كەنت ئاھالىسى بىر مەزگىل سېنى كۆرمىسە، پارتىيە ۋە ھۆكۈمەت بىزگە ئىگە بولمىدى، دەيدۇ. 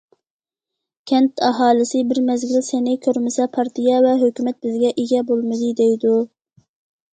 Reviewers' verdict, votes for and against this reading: accepted, 2, 0